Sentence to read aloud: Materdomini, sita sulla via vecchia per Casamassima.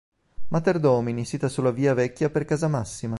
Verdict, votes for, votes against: accepted, 3, 0